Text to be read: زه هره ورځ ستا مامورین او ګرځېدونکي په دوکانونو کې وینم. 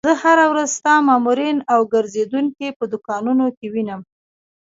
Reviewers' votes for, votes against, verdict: 2, 0, accepted